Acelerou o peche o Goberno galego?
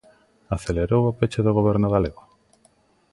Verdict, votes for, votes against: rejected, 0, 2